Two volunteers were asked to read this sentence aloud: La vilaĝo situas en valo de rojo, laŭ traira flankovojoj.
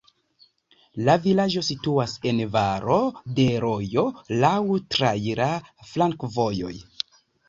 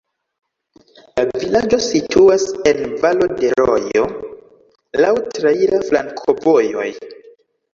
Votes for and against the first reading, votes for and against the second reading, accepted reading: 0, 2, 2, 0, second